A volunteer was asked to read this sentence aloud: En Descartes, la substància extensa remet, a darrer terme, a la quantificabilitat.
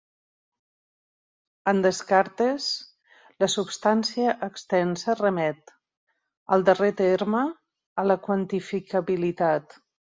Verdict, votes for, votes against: rejected, 2, 3